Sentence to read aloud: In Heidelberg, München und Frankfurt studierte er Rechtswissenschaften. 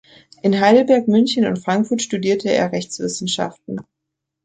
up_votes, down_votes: 3, 1